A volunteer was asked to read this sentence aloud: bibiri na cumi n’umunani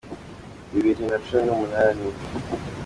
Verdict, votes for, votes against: accepted, 2, 0